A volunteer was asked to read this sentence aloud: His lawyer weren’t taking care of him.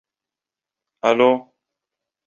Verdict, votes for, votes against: rejected, 0, 2